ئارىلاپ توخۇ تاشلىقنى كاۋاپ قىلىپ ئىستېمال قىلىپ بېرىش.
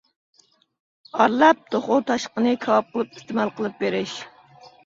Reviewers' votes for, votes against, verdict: 1, 2, rejected